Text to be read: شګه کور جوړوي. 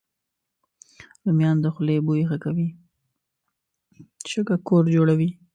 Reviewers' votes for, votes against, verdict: 1, 2, rejected